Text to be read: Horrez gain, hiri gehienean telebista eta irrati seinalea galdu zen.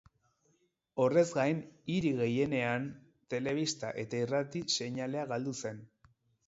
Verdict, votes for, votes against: accepted, 4, 0